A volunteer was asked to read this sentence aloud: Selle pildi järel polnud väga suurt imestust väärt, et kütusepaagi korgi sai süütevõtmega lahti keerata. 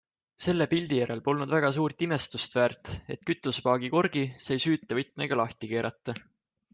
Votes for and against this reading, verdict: 2, 0, accepted